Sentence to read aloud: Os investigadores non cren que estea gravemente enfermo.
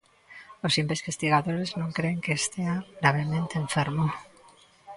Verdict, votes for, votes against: rejected, 0, 2